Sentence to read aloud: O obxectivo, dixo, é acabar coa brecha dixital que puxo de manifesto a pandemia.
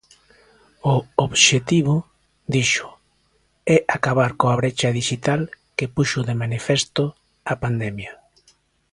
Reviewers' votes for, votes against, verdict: 2, 0, accepted